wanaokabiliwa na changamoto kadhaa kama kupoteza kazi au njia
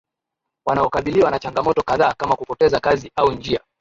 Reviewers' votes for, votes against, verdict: 0, 2, rejected